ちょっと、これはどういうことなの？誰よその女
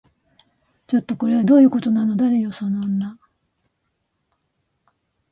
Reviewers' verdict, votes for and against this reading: rejected, 1, 2